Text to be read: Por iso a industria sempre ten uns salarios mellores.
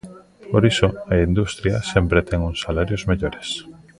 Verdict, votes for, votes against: rejected, 1, 2